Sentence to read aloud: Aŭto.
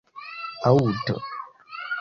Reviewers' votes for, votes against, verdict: 0, 2, rejected